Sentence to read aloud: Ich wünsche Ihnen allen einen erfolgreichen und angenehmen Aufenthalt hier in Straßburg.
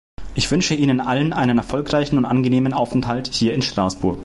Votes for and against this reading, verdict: 2, 0, accepted